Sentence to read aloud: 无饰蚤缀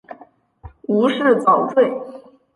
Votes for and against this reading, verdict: 5, 0, accepted